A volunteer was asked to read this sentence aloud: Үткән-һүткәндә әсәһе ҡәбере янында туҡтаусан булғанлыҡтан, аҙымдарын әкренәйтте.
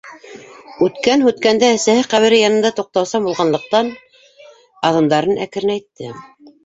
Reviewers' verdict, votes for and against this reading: rejected, 0, 2